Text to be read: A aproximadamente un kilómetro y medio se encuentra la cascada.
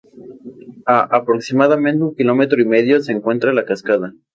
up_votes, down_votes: 0, 2